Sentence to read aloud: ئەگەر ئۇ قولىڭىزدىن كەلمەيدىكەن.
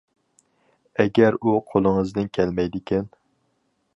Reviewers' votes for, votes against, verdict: 4, 0, accepted